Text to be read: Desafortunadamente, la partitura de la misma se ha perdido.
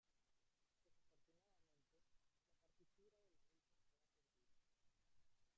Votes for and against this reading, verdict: 0, 2, rejected